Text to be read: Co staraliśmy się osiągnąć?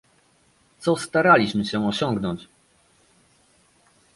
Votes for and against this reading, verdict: 2, 0, accepted